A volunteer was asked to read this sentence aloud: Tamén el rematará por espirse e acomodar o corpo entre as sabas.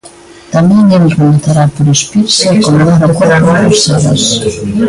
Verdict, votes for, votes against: rejected, 0, 2